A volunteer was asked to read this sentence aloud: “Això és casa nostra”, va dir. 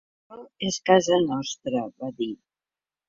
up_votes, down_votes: 0, 2